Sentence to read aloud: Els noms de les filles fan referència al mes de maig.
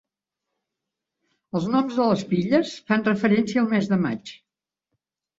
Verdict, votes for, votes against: accepted, 3, 0